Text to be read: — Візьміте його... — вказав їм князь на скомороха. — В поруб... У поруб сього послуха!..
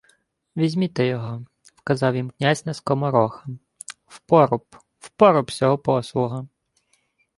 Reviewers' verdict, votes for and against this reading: accepted, 2, 0